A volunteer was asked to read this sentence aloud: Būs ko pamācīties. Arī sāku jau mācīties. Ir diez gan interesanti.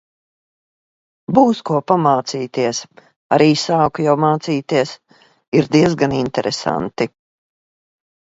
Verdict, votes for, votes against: accepted, 2, 1